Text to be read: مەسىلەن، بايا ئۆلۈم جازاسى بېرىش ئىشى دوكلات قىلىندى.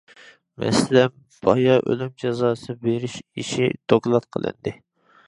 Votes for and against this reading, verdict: 2, 0, accepted